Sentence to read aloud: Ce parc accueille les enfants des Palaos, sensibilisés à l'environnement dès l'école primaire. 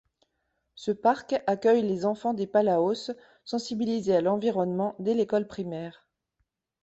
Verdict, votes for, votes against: rejected, 1, 2